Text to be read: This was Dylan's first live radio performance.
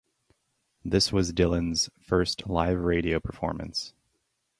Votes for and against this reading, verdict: 2, 0, accepted